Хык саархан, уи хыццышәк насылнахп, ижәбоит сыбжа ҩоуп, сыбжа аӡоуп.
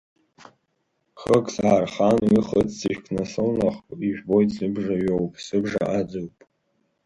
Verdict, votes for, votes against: rejected, 0, 2